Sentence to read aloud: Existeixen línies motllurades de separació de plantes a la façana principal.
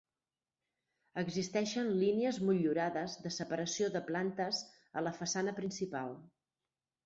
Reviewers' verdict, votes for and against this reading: rejected, 2, 4